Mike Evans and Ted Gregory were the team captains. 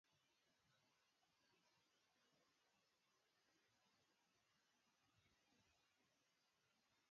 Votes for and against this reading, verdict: 0, 2, rejected